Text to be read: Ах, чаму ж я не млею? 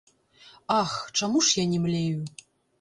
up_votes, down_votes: 1, 2